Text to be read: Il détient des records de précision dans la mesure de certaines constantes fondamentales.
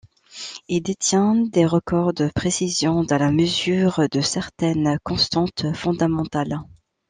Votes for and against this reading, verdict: 2, 0, accepted